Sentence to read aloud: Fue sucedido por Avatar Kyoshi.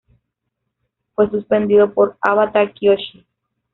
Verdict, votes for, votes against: rejected, 0, 3